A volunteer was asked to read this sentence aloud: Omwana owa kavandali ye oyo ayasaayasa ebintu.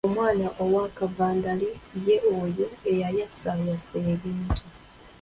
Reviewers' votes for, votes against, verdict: 0, 2, rejected